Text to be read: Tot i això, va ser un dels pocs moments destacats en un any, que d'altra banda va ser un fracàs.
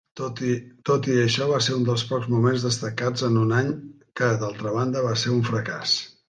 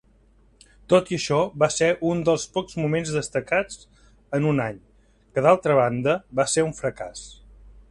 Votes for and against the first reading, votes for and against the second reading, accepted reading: 1, 2, 3, 1, second